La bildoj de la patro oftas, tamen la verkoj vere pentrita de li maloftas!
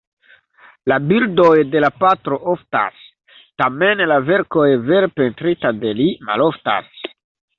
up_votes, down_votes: 0, 2